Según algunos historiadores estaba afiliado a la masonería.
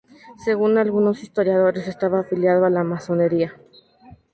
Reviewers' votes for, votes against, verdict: 2, 0, accepted